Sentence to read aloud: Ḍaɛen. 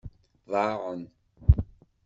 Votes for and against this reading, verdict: 1, 2, rejected